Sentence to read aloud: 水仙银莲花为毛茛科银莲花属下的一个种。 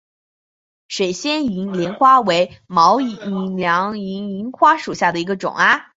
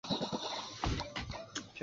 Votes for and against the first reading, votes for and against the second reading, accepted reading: 3, 2, 0, 2, first